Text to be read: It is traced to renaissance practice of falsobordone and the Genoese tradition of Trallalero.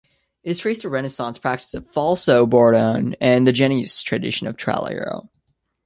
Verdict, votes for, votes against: accepted, 2, 0